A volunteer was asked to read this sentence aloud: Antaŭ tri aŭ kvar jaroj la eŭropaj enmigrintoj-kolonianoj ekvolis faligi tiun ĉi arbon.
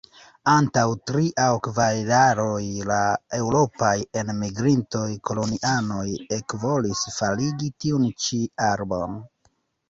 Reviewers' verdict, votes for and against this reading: rejected, 1, 2